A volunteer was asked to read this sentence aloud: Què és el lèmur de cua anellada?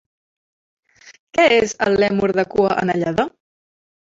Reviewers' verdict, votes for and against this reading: rejected, 1, 2